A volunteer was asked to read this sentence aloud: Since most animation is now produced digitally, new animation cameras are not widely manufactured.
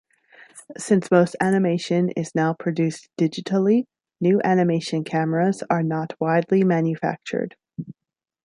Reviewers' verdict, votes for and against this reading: accepted, 2, 0